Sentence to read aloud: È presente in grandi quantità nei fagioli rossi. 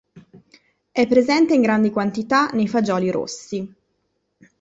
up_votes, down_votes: 2, 0